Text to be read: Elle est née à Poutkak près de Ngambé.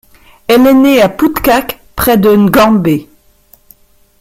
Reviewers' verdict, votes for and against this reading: rejected, 1, 2